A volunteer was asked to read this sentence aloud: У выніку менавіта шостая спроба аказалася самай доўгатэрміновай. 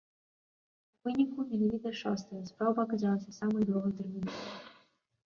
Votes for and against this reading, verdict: 2, 0, accepted